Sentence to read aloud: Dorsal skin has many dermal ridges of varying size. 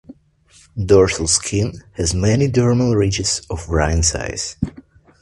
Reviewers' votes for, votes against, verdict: 1, 2, rejected